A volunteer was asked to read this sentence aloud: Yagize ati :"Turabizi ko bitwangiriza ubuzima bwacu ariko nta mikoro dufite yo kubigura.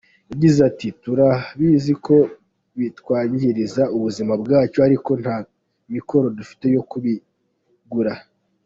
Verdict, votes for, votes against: accepted, 2, 1